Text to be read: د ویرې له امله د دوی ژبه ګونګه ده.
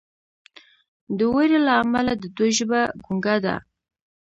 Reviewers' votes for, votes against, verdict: 2, 0, accepted